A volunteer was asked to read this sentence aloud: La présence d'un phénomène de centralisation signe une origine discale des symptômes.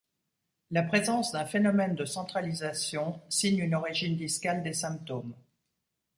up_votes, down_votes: 2, 0